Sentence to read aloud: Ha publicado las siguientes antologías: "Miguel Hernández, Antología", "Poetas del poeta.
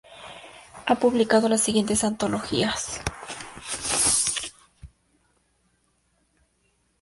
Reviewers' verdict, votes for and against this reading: rejected, 0, 2